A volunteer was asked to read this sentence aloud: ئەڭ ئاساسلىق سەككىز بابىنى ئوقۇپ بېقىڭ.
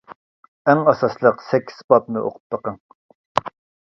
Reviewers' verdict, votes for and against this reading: rejected, 1, 2